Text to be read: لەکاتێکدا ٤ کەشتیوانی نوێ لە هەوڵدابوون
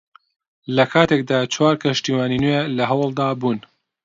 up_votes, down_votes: 0, 2